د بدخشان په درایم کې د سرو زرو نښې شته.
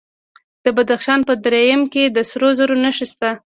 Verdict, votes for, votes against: accepted, 2, 0